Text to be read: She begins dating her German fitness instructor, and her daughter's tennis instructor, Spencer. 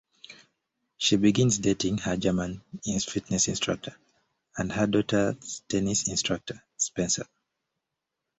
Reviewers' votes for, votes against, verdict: 2, 0, accepted